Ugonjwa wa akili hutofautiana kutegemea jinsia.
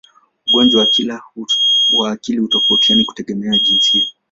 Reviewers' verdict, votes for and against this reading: rejected, 2, 4